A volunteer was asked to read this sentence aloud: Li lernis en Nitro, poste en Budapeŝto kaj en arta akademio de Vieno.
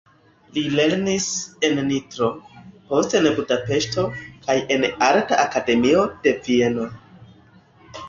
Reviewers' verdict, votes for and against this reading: accepted, 2, 1